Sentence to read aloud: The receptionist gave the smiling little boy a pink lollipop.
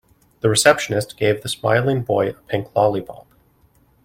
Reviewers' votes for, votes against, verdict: 0, 3, rejected